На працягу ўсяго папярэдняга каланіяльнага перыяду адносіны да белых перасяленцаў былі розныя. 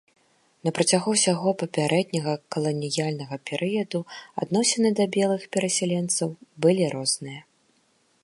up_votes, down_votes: 1, 2